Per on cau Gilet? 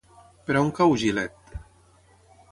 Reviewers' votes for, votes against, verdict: 6, 0, accepted